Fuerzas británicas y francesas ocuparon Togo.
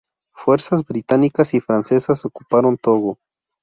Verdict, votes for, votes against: rejected, 2, 2